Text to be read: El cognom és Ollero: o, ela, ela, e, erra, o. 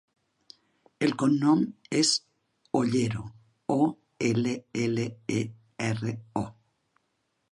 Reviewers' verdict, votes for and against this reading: accepted, 2, 0